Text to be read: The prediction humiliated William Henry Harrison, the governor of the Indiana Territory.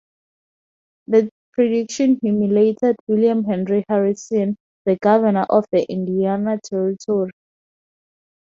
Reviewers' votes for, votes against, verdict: 0, 2, rejected